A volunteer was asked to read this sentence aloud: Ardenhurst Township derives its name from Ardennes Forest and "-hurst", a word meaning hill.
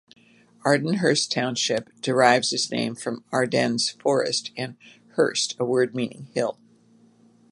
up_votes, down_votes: 2, 0